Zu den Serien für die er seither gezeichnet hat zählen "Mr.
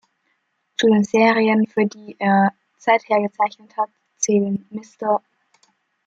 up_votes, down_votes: 1, 2